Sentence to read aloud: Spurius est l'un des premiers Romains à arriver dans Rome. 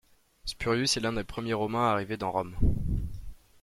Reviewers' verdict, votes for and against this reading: accepted, 2, 1